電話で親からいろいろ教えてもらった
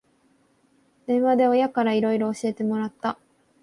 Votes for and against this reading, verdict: 2, 0, accepted